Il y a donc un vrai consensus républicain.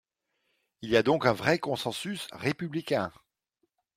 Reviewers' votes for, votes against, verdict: 2, 0, accepted